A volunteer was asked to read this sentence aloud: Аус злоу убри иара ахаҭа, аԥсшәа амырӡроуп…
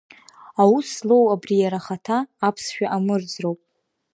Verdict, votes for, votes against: accepted, 2, 0